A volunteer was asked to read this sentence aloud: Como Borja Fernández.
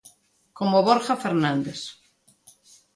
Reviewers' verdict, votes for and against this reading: accepted, 2, 0